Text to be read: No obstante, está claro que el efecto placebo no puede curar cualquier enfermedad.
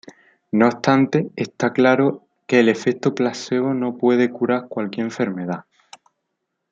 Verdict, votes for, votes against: accepted, 2, 0